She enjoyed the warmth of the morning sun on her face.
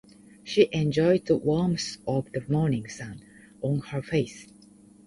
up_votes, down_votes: 2, 0